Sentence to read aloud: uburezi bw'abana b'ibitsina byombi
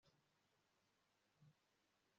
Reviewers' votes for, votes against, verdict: 3, 1, accepted